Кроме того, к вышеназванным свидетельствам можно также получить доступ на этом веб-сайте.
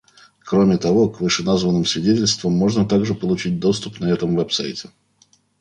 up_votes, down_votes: 1, 2